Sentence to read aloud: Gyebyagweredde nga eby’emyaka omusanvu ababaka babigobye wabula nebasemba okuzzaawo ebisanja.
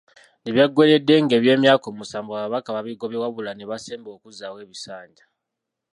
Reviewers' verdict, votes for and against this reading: rejected, 1, 2